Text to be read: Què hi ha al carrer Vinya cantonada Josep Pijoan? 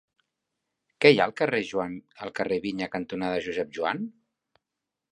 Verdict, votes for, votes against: rejected, 0, 3